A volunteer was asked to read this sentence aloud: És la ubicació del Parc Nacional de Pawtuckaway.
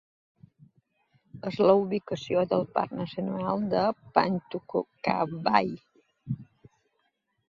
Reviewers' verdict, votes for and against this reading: accepted, 2, 1